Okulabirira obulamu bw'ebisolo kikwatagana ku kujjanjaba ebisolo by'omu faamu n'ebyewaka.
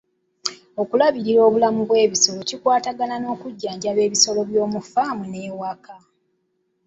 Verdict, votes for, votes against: rejected, 1, 2